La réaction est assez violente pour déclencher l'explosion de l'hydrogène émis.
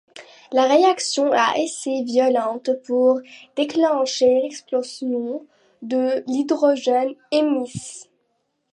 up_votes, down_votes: 0, 2